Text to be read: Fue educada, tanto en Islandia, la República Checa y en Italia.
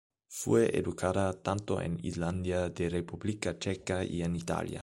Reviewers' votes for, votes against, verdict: 0, 2, rejected